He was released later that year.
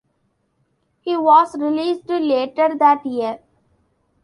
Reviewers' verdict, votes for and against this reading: accepted, 2, 1